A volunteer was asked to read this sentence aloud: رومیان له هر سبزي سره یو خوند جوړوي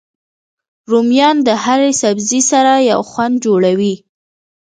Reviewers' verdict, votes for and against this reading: accepted, 2, 1